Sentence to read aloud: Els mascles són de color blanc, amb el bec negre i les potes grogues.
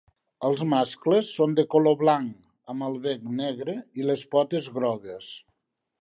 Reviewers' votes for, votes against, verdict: 2, 0, accepted